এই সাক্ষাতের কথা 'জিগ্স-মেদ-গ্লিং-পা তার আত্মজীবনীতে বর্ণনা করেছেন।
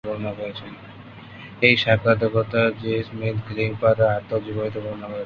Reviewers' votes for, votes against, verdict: 3, 2, accepted